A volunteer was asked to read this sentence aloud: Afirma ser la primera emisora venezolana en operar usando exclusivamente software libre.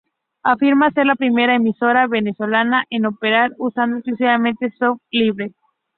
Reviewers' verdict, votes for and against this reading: rejected, 2, 6